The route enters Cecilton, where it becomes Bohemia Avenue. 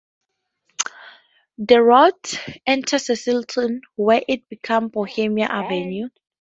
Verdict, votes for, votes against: rejected, 0, 4